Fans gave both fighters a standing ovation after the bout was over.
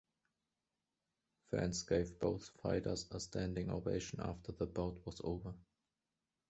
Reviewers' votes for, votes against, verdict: 2, 0, accepted